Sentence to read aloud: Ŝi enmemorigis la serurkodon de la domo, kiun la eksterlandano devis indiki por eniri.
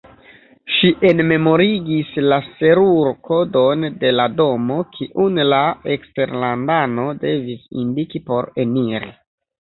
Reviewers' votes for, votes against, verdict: 0, 2, rejected